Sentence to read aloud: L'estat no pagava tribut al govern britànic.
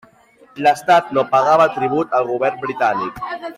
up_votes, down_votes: 0, 2